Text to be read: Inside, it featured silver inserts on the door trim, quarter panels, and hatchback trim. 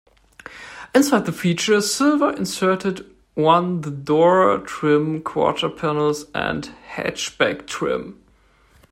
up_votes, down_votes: 0, 2